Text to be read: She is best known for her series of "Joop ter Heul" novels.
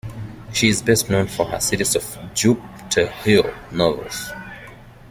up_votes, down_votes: 2, 3